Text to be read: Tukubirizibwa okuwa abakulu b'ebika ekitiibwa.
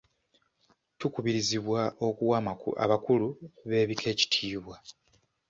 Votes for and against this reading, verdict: 1, 2, rejected